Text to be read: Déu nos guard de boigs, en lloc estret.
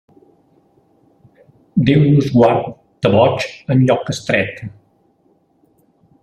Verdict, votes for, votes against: rejected, 1, 2